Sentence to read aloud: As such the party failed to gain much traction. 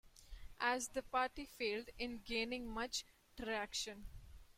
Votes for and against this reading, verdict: 0, 2, rejected